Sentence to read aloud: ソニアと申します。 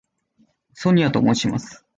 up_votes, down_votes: 2, 0